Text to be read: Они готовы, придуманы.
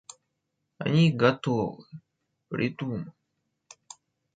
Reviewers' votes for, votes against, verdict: 1, 2, rejected